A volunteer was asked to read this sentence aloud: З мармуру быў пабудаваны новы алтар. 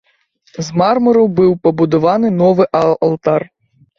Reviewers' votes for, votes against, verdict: 1, 2, rejected